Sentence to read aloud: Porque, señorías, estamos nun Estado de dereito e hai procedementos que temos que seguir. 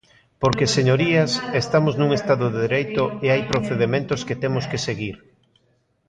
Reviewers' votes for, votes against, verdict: 1, 2, rejected